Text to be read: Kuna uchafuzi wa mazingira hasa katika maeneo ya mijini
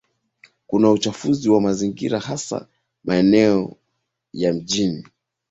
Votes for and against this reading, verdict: 2, 4, rejected